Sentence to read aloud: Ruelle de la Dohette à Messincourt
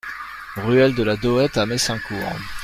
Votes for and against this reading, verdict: 2, 0, accepted